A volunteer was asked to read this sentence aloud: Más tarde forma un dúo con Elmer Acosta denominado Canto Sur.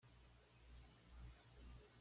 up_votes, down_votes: 1, 2